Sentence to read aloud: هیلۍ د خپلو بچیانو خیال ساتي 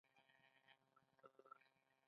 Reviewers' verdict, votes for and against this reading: rejected, 0, 2